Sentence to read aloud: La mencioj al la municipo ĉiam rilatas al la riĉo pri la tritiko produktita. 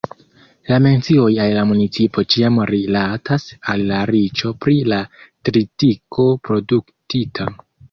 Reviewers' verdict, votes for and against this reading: accepted, 2, 0